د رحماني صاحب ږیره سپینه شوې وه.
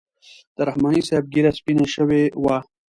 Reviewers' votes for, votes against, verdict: 2, 1, accepted